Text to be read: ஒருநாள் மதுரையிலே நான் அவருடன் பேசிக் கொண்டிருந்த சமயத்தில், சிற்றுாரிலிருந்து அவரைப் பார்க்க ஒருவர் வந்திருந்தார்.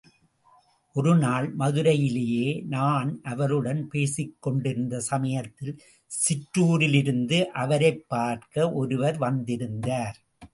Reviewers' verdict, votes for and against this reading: accepted, 2, 0